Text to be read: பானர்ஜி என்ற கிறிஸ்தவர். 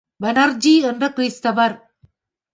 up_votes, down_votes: 0, 4